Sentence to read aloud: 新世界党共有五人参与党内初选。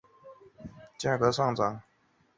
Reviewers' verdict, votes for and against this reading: rejected, 0, 3